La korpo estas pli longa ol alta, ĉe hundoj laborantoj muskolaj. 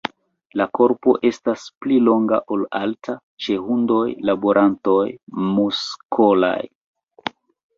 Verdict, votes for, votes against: accepted, 2, 1